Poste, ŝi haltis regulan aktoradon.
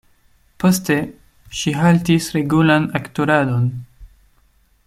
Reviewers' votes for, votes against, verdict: 2, 0, accepted